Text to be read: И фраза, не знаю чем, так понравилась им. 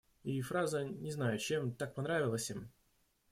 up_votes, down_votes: 2, 1